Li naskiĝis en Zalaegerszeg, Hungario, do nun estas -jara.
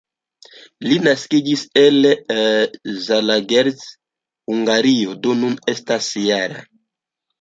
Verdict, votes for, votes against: rejected, 0, 2